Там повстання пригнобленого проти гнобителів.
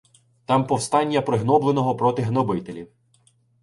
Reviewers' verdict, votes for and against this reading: accepted, 2, 0